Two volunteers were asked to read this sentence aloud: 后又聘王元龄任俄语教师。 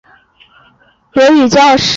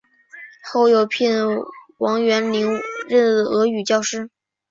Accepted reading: second